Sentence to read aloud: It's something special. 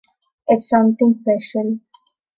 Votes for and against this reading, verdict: 2, 0, accepted